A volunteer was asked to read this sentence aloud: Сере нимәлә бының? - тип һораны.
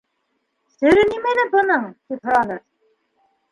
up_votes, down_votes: 3, 1